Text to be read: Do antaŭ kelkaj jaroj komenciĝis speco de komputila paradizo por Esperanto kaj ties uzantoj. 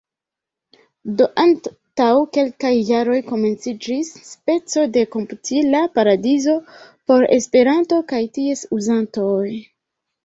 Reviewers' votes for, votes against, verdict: 1, 2, rejected